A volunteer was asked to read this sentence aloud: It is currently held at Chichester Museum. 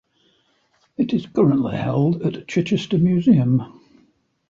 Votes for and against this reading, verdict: 2, 0, accepted